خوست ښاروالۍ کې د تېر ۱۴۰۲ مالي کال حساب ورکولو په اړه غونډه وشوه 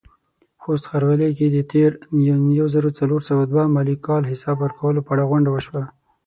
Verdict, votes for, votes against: rejected, 0, 2